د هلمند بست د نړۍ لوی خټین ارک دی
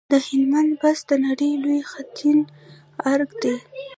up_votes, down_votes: 0, 2